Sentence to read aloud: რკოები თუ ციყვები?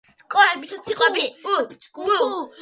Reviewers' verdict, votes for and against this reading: rejected, 0, 2